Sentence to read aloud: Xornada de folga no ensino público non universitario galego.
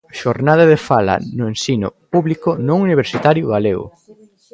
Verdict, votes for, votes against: rejected, 0, 2